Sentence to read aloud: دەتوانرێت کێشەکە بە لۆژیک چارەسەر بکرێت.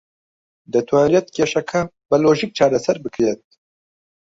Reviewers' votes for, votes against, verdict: 0, 2, rejected